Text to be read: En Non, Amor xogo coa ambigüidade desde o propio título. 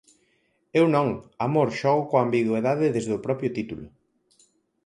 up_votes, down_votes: 0, 4